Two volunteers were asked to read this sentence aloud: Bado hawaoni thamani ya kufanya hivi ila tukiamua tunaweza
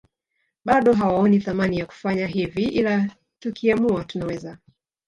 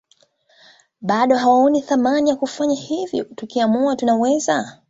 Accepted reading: second